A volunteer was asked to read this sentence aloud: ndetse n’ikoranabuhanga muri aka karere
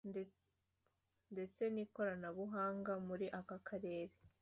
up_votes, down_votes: 2, 0